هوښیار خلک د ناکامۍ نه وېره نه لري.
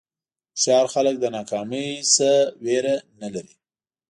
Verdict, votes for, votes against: accepted, 2, 0